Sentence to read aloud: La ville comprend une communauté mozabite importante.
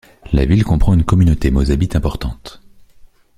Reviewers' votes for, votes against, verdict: 2, 0, accepted